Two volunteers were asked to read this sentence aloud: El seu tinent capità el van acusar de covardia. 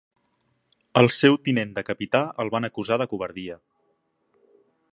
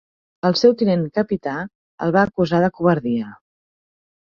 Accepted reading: second